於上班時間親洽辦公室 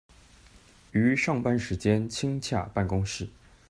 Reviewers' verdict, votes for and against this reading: accepted, 2, 0